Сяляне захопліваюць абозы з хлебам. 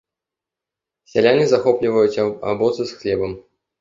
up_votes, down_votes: 0, 2